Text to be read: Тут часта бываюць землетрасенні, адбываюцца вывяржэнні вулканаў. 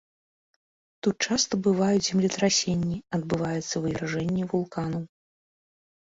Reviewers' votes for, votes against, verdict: 2, 0, accepted